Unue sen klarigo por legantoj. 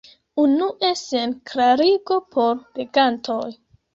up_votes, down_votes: 2, 1